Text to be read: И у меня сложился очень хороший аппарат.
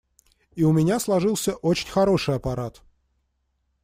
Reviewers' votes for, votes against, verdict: 2, 0, accepted